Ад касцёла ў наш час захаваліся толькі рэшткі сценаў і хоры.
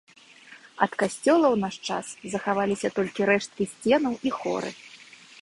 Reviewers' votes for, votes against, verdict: 2, 0, accepted